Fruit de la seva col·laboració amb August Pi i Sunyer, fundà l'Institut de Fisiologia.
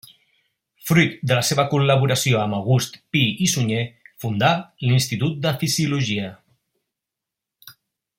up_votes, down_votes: 2, 0